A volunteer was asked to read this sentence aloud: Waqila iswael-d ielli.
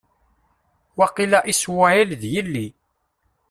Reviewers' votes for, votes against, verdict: 0, 2, rejected